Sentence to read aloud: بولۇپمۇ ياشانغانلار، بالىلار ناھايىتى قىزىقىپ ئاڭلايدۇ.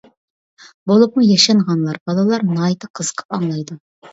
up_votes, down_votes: 2, 0